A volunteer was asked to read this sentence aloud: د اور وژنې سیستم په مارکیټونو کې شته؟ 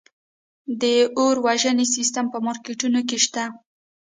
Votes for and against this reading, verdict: 2, 0, accepted